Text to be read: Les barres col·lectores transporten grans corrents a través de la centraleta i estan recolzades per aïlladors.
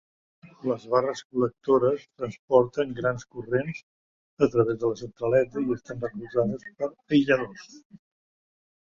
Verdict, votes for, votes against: accepted, 2, 0